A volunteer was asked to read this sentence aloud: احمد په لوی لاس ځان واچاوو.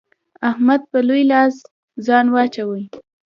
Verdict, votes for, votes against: accepted, 3, 0